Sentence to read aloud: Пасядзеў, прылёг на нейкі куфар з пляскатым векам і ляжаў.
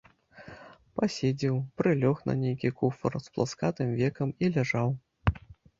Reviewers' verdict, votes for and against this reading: rejected, 0, 2